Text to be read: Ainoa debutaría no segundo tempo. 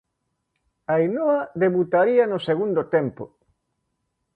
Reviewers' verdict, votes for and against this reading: accepted, 2, 0